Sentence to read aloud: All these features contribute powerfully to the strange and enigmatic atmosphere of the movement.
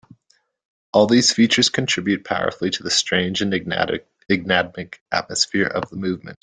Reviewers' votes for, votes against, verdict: 1, 2, rejected